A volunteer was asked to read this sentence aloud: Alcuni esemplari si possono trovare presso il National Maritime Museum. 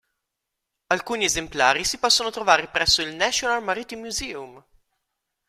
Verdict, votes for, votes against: accepted, 2, 0